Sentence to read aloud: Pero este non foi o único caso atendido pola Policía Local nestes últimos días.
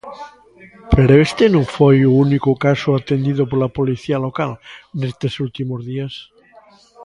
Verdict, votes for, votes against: rejected, 1, 2